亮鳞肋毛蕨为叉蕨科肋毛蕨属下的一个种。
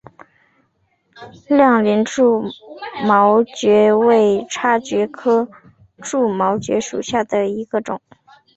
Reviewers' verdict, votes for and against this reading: accepted, 6, 1